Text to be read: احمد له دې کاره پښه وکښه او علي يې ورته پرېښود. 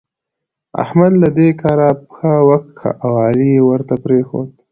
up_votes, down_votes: 2, 0